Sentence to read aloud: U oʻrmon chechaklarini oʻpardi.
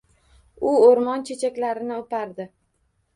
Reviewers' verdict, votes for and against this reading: accepted, 2, 0